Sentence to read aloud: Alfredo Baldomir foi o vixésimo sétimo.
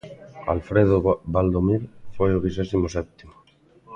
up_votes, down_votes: 0, 2